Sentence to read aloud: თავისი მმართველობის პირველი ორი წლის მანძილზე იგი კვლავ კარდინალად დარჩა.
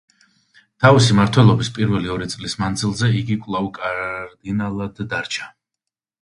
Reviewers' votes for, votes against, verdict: 1, 2, rejected